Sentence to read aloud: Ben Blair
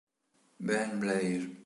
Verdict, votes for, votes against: accepted, 2, 0